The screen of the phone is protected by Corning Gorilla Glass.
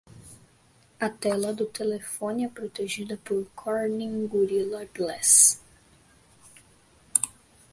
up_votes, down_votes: 0, 2